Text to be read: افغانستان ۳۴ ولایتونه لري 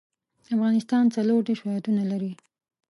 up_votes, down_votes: 0, 2